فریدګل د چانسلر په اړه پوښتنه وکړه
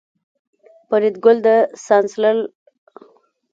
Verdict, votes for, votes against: rejected, 0, 2